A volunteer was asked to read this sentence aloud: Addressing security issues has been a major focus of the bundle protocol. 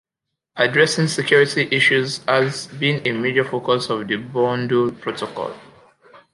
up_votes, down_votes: 2, 0